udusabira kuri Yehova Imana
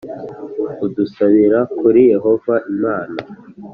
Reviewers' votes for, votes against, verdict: 2, 0, accepted